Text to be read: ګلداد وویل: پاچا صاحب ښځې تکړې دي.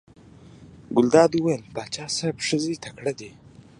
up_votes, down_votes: 2, 0